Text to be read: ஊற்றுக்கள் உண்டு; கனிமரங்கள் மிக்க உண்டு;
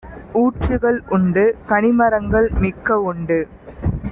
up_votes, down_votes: 2, 0